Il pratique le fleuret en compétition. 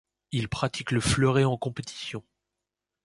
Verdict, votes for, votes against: accepted, 2, 0